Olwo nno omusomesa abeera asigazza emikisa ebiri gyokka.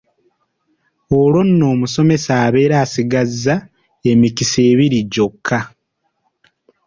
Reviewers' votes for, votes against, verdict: 2, 0, accepted